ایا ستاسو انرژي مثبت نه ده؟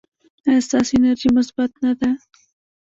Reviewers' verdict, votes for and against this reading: rejected, 0, 2